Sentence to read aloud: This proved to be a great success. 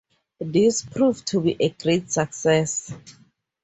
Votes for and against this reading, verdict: 2, 0, accepted